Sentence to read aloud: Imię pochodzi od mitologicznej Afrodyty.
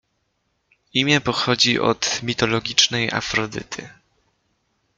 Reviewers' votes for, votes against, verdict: 2, 0, accepted